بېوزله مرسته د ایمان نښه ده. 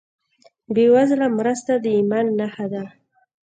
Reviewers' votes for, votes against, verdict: 2, 0, accepted